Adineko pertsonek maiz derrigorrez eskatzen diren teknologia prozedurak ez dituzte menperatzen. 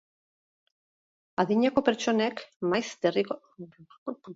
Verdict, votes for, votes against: rejected, 0, 6